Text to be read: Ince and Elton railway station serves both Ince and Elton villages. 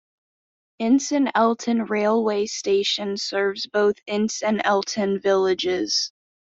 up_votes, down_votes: 2, 0